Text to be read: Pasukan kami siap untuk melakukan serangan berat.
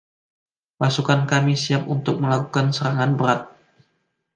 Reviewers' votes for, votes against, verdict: 2, 0, accepted